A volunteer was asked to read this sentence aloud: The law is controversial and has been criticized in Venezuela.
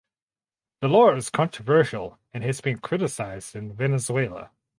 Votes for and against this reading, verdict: 4, 0, accepted